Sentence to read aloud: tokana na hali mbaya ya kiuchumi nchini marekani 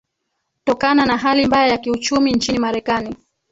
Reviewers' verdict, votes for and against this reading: rejected, 1, 3